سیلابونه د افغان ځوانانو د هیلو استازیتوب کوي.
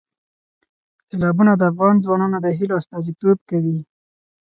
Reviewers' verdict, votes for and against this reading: rejected, 2, 4